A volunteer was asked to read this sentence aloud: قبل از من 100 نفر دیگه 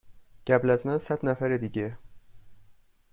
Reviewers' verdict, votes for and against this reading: rejected, 0, 2